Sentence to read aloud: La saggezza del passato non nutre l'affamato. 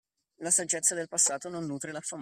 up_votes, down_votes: 1, 2